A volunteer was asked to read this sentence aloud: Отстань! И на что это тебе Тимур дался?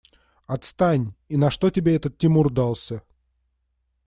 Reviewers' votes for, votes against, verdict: 1, 2, rejected